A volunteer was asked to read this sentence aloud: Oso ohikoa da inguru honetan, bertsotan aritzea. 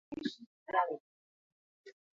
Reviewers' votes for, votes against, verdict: 0, 4, rejected